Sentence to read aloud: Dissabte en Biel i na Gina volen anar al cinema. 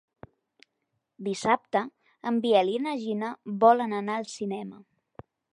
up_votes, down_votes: 3, 0